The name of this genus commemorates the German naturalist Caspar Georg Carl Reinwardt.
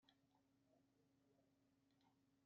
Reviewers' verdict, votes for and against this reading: rejected, 0, 2